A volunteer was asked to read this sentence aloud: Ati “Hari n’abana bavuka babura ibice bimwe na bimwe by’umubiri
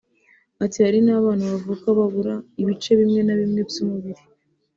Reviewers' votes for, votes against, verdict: 2, 1, accepted